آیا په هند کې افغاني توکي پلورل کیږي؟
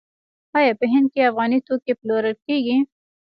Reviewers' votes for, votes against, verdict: 1, 2, rejected